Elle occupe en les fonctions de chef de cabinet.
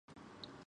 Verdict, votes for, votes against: rejected, 1, 2